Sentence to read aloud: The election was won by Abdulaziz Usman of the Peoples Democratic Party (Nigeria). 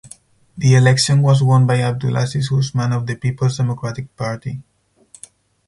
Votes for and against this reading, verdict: 2, 2, rejected